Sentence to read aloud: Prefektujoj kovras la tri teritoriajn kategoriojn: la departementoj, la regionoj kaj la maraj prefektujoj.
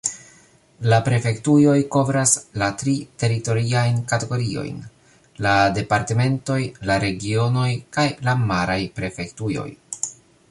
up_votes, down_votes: 1, 3